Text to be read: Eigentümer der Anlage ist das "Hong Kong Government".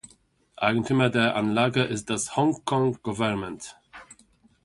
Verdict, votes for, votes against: accepted, 2, 0